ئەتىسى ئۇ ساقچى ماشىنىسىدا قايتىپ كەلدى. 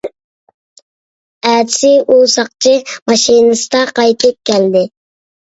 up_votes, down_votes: 2, 0